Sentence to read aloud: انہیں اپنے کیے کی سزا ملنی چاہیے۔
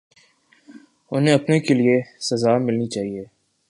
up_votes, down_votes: 0, 3